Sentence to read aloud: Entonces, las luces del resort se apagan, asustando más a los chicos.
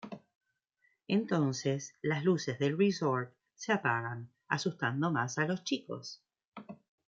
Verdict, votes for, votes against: accepted, 2, 0